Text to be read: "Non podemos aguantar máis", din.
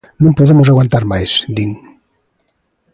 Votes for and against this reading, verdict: 2, 0, accepted